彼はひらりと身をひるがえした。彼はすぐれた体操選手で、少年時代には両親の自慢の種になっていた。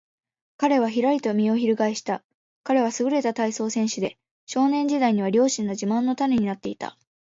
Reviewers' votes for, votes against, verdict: 2, 1, accepted